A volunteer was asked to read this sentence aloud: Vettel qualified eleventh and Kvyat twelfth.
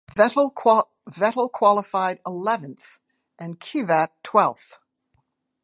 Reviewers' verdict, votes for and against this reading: rejected, 0, 2